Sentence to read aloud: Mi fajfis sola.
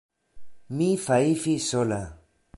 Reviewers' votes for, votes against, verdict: 0, 2, rejected